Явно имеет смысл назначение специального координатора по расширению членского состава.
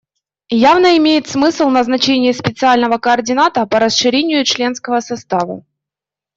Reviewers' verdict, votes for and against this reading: rejected, 0, 2